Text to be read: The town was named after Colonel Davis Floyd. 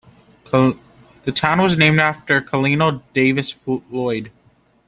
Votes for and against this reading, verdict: 0, 2, rejected